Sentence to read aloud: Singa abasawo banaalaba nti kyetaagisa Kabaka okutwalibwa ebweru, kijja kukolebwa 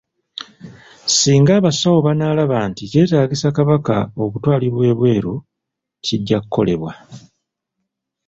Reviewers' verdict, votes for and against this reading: rejected, 1, 2